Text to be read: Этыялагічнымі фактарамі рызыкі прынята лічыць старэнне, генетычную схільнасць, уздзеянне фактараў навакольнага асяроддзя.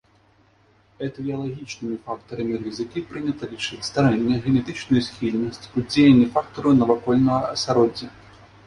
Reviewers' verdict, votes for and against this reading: accepted, 3, 0